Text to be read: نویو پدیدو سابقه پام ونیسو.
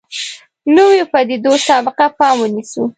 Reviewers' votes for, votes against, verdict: 2, 0, accepted